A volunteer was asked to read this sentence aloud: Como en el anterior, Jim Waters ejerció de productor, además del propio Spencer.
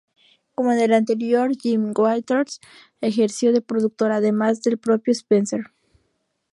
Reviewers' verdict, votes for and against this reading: rejected, 0, 4